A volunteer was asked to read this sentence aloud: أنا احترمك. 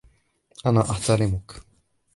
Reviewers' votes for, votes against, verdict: 1, 2, rejected